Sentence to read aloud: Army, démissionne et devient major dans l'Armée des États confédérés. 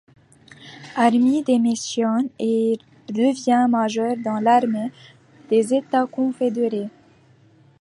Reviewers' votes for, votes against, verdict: 2, 0, accepted